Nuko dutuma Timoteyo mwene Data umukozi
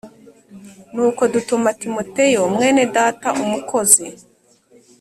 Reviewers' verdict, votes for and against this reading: accepted, 2, 0